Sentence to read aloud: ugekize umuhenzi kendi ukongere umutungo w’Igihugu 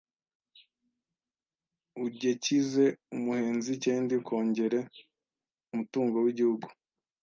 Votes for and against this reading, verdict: 1, 2, rejected